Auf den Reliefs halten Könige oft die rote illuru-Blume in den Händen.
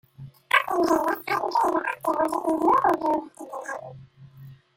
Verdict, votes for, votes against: rejected, 0, 2